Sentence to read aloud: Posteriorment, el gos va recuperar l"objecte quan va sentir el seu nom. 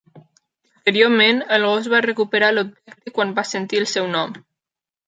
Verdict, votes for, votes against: rejected, 0, 2